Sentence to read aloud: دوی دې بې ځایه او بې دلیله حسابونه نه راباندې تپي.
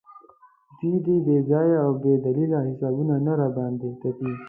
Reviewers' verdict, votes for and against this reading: accepted, 2, 0